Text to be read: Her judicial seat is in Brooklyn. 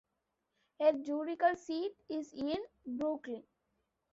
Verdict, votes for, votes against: rejected, 1, 2